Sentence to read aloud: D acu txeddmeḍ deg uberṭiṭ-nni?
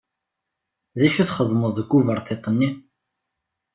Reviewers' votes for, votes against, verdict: 2, 0, accepted